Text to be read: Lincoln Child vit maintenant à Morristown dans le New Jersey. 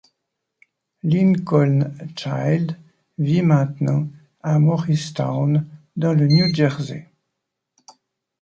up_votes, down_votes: 2, 0